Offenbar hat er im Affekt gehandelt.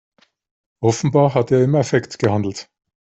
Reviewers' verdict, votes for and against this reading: accepted, 3, 0